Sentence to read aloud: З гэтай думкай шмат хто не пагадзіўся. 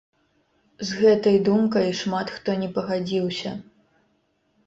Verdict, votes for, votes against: accepted, 2, 0